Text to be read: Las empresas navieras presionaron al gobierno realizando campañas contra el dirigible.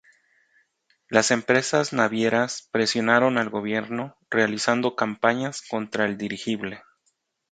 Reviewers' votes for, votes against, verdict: 2, 0, accepted